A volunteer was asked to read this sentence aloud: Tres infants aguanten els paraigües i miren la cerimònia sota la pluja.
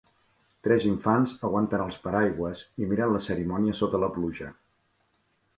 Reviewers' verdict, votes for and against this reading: accepted, 6, 0